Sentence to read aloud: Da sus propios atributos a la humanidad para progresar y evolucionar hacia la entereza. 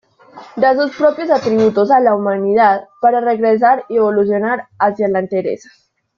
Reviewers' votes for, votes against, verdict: 0, 2, rejected